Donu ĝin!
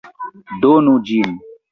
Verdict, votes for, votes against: accepted, 2, 1